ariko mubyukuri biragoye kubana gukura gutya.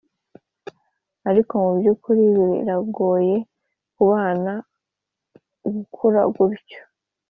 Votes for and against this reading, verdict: 2, 0, accepted